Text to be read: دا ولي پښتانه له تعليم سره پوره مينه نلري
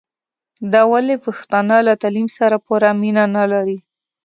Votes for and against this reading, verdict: 2, 0, accepted